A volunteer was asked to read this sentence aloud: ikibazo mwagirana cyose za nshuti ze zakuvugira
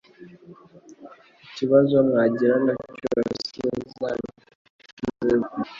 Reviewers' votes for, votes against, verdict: 1, 2, rejected